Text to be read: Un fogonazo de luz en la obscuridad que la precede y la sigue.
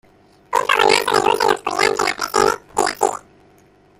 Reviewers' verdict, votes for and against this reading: rejected, 0, 2